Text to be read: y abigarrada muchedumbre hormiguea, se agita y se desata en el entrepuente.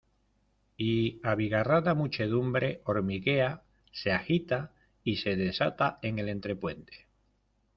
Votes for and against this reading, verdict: 2, 0, accepted